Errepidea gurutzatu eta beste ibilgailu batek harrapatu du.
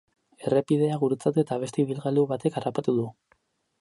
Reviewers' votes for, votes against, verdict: 0, 2, rejected